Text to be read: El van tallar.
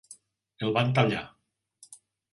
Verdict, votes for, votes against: accepted, 2, 0